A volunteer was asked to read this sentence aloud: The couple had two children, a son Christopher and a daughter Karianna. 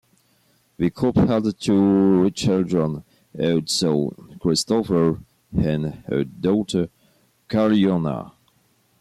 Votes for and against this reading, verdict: 2, 0, accepted